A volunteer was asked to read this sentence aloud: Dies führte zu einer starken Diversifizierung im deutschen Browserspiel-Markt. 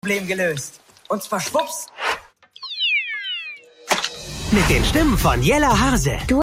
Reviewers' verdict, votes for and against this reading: rejected, 0, 2